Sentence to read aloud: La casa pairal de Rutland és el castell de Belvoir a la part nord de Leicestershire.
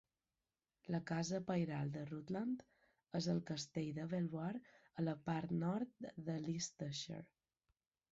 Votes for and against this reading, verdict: 2, 1, accepted